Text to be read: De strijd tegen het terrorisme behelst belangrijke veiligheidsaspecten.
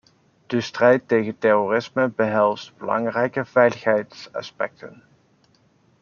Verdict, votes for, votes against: rejected, 1, 2